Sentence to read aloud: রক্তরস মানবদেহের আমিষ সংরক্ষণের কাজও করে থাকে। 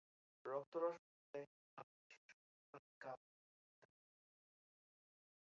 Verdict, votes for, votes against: rejected, 0, 2